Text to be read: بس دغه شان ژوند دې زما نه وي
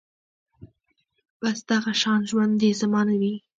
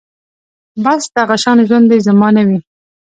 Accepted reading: second